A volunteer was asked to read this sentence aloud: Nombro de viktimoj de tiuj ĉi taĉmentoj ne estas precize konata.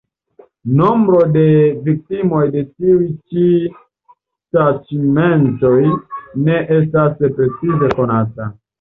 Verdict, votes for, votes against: accepted, 2, 0